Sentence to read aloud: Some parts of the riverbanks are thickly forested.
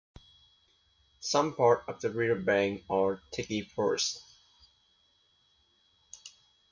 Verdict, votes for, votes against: rejected, 0, 2